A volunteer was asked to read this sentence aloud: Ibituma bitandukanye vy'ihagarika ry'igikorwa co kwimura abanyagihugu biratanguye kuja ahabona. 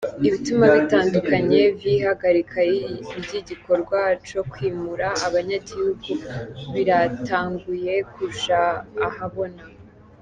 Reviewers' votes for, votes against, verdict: 2, 0, accepted